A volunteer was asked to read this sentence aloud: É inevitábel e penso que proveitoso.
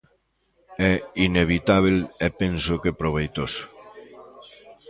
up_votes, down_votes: 1, 2